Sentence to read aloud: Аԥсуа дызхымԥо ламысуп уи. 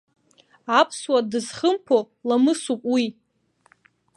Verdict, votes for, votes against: accepted, 2, 0